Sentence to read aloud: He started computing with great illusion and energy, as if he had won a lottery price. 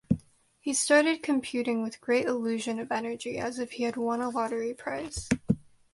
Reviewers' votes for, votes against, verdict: 2, 0, accepted